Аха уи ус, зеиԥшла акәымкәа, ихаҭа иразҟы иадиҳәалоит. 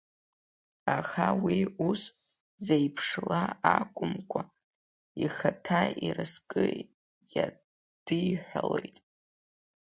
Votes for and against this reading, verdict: 0, 3, rejected